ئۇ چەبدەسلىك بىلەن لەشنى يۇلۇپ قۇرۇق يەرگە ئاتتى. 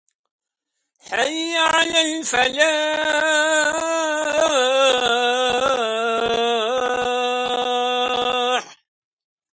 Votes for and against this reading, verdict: 0, 2, rejected